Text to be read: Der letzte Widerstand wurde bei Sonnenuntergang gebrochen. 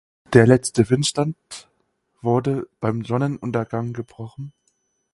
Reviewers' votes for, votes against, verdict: 0, 4, rejected